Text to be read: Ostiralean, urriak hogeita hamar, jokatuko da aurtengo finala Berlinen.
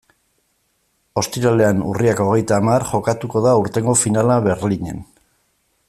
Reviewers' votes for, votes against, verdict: 1, 2, rejected